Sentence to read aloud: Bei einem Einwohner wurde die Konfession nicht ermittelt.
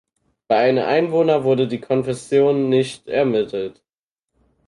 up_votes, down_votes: 0, 4